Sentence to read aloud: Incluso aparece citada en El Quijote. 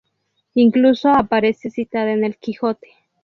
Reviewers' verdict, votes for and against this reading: rejected, 2, 2